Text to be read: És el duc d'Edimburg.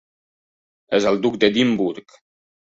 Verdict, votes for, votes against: rejected, 1, 2